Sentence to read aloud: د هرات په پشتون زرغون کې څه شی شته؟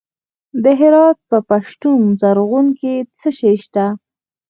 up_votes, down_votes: 2, 4